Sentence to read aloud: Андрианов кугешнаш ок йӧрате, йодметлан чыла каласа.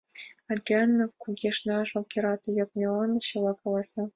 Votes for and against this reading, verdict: 1, 2, rejected